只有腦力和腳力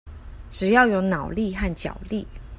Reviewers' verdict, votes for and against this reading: accepted, 2, 1